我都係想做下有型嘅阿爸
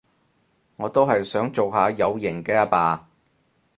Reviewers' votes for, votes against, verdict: 4, 0, accepted